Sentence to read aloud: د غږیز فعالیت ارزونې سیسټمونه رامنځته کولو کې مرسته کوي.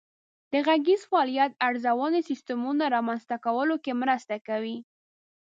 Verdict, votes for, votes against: accepted, 2, 0